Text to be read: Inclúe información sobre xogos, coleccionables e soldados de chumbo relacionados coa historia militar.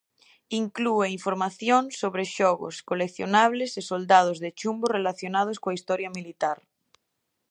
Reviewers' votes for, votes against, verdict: 2, 0, accepted